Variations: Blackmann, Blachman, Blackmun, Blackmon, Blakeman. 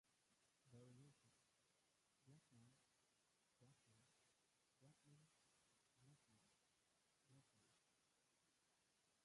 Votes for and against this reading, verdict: 0, 2, rejected